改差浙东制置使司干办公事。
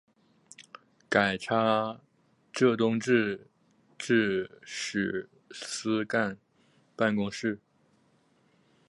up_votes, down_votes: 4, 0